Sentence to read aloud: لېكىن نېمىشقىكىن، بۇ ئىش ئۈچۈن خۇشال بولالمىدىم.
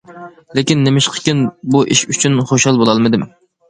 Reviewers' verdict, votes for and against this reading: accepted, 2, 0